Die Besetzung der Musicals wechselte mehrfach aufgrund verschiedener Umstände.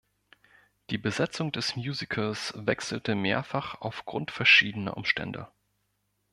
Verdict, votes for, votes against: rejected, 1, 3